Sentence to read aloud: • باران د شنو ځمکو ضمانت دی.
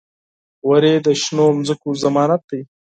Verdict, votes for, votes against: rejected, 2, 4